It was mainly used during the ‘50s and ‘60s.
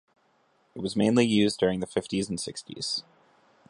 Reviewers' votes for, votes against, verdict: 0, 2, rejected